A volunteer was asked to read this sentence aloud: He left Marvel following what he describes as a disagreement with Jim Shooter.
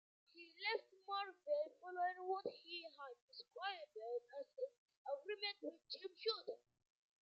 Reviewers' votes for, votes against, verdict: 0, 2, rejected